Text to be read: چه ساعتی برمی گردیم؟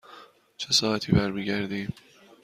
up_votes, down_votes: 3, 0